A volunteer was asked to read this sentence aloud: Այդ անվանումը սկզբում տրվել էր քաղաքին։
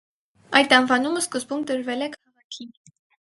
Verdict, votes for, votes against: rejected, 0, 4